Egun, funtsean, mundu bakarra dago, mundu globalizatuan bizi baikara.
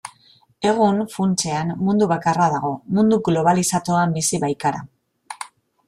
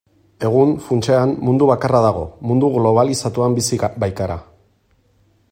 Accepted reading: first